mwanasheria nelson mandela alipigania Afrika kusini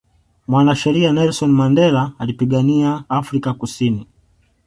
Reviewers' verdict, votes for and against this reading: accepted, 2, 0